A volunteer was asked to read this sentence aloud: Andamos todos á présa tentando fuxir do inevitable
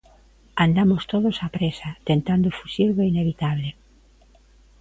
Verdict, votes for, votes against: accepted, 2, 0